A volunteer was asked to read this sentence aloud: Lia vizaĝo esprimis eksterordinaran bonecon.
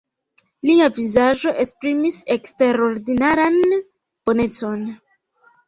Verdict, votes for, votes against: accepted, 2, 1